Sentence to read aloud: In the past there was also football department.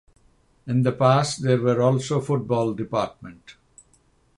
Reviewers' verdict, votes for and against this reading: rejected, 0, 3